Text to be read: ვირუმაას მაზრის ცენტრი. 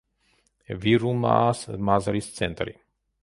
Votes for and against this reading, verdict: 2, 0, accepted